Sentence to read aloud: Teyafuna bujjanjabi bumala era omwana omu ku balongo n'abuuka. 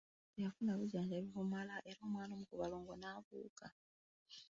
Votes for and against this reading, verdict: 1, 2, rejected